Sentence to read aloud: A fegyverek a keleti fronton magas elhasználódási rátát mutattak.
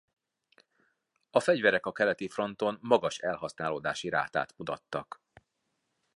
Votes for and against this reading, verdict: 2, 0, accepted